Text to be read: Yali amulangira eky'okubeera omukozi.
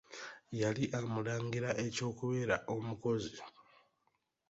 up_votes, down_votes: 2, 0